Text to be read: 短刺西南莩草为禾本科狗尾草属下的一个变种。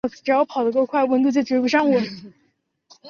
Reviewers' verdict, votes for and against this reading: rejected, 0, 2